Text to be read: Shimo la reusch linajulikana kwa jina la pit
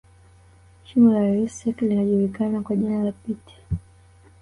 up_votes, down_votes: 1, 2